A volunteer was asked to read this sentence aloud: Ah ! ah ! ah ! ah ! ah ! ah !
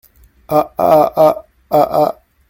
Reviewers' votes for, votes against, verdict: 1, 2, rejected